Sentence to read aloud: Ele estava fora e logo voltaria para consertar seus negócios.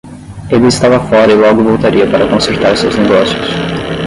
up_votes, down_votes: 5, 5